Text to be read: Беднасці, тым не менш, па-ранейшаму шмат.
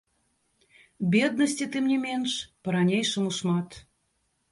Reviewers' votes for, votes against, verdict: 0, 3, rejected